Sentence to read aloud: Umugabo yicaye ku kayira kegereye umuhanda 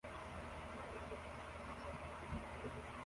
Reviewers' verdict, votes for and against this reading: rejected, 0, 2